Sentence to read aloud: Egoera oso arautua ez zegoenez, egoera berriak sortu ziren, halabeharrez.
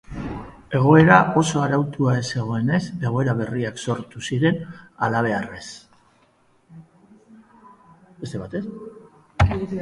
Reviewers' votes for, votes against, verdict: 0, 2, rejected